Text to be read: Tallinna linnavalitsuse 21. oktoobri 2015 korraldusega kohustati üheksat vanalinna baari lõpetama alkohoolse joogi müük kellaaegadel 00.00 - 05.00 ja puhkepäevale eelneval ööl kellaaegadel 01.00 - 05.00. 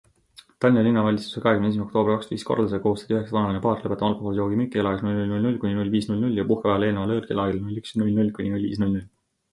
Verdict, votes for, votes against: rejected, 0, 2